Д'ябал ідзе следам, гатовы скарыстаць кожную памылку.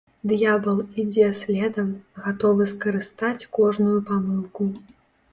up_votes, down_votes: 2, 0